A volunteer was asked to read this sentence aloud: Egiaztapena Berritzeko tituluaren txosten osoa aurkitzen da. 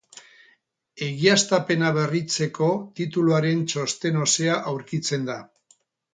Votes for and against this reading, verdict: 0, 2, rejected